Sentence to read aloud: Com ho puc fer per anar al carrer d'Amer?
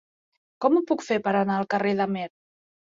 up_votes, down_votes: 2, 0